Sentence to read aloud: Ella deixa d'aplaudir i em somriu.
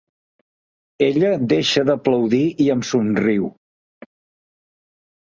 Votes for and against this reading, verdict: 2, 0, accepted